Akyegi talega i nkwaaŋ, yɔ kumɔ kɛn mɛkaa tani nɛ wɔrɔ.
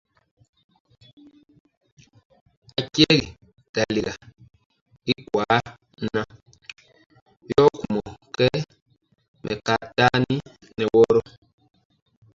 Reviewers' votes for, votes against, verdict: 0, 2, rejected